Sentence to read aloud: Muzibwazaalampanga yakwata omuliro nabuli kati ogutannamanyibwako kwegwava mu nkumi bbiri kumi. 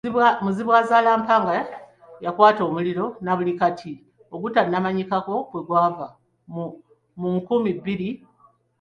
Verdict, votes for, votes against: rejected, 0, 2